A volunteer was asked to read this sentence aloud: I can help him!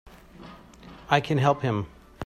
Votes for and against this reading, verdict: 2, 0, accepted